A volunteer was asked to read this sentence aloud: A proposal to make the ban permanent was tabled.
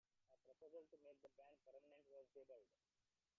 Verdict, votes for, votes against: rejected, 1, 2